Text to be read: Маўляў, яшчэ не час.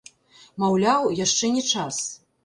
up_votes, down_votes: 0, 2